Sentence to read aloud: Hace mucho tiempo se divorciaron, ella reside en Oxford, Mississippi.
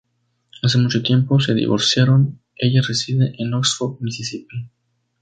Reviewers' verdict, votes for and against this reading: accepted, 2, 0